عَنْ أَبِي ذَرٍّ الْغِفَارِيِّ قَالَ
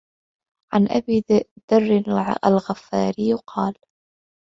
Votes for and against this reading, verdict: 0, 2, rejected